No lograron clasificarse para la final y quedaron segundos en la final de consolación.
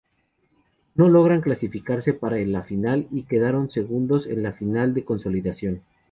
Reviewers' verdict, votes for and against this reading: accepted, 2, 0